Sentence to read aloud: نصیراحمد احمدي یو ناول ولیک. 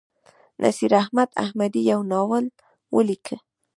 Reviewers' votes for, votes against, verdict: 2, 0, accepted